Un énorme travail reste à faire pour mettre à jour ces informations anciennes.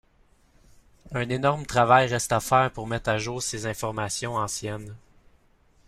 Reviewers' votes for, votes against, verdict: 2, 1, accepted